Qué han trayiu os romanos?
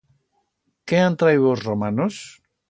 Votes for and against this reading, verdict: 2, 0, accepted